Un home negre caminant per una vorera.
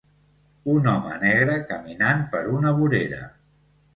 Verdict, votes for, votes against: accepted, 2, 0